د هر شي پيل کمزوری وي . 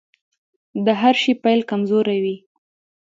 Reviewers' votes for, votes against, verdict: 2, 0, accepted